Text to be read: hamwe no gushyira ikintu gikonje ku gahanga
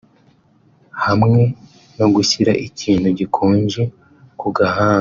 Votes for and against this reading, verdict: 1, 2, rejected